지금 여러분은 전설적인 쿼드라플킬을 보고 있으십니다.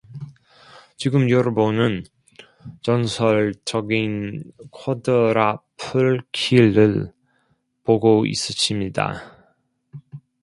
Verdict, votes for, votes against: rejected, 0, 2